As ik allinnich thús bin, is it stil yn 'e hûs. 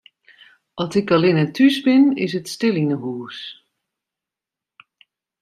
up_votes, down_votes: 1, 2